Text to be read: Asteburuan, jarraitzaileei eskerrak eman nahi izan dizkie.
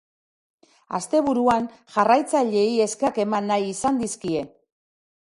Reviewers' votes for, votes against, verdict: 2, 3, rejected